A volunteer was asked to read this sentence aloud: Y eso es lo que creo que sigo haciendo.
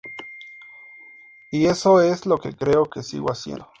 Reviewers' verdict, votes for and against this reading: accepted, 4, 0